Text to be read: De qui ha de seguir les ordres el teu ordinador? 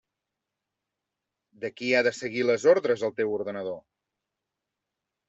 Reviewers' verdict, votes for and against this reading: rejected, 0, 2